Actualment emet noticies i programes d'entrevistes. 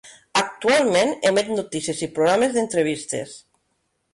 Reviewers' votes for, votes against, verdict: 0, 2, rejected